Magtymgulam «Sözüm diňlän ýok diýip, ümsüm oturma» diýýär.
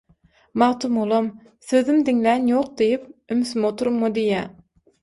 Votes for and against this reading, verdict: 0, 6, rejected